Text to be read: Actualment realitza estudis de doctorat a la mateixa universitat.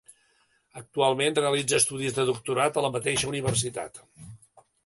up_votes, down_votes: 2, 0